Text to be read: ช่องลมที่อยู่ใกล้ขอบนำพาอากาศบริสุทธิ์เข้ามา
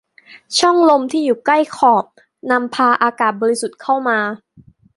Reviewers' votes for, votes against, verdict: 1, 2, rejected